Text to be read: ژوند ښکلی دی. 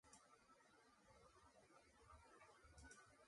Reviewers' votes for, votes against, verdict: 0, 2, rejected